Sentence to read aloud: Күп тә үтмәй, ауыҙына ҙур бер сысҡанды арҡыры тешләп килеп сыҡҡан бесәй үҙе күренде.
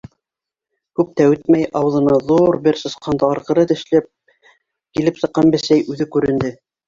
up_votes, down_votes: 1, 2